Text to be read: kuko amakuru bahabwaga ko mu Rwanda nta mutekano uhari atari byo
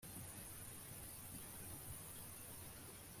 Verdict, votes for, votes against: rejected, 1, 2